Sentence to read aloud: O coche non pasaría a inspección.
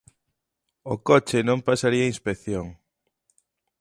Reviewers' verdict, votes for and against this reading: accepted, 2, 0